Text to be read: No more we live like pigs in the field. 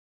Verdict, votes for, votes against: rejected, 0, 2